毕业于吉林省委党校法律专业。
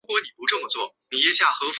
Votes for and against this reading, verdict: 0, 2, rejected